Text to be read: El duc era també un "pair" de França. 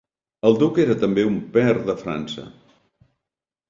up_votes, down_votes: 4, 0